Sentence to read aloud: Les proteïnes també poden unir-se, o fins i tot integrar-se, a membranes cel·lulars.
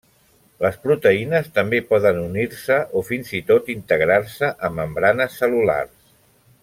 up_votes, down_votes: 3, 0